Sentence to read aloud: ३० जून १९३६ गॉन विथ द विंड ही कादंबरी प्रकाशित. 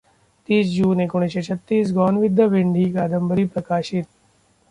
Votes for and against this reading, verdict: 0, 2, rejected